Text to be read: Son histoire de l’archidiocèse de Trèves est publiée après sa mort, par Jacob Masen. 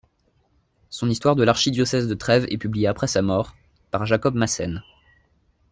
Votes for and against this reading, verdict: 2, 1, accepted